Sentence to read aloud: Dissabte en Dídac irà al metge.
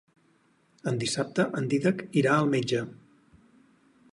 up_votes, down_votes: 2, 4